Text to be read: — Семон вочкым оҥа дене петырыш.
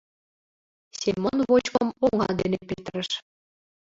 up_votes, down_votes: 0, 2